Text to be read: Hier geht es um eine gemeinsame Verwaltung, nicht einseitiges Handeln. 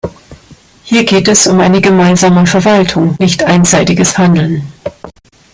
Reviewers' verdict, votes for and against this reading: accepted, 2, 1